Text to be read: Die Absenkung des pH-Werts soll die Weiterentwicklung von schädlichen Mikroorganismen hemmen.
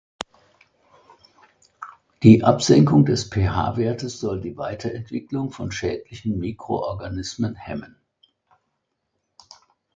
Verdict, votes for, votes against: rejected, 1, 2